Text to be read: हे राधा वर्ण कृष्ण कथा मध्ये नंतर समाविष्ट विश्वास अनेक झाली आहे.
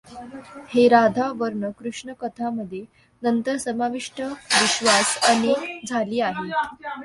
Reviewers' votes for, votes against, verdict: 0, 2, rejected